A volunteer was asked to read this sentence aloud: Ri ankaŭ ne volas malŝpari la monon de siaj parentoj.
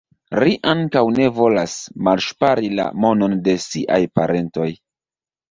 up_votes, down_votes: 2, 0